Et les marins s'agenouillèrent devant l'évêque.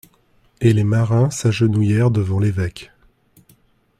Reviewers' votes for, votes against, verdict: 2, 0, accepted